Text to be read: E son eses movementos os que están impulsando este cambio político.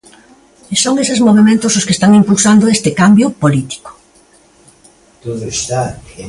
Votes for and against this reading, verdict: 2, 1, accepted